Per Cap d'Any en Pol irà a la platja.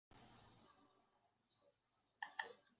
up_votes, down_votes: 0, 2